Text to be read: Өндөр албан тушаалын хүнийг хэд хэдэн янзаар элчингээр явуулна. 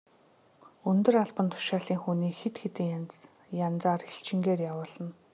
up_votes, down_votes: 1, 2